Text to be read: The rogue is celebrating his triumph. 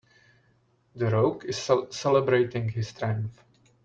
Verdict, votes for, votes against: rejected, 0, 2